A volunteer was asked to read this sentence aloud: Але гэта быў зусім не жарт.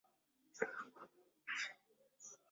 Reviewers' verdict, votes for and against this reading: rejected, 0, 2